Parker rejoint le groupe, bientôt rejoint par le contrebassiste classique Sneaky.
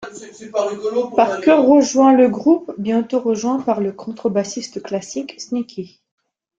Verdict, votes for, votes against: rejected, 0, 2